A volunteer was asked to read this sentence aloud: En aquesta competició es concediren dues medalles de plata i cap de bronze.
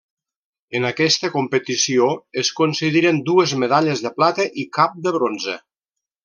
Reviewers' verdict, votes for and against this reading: accepted, 2, 0